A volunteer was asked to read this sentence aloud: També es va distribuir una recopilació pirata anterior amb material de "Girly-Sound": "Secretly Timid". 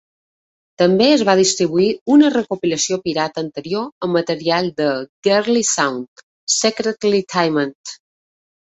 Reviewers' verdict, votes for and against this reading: accepted, 2, 0